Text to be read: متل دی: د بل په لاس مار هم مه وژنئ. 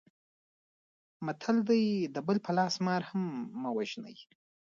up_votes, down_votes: 2, 1